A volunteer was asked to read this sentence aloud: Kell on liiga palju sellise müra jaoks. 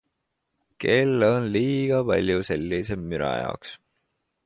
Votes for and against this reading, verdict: 4, 0, accepted